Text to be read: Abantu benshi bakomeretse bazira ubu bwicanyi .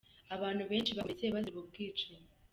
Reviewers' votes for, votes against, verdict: 1, 2, rejected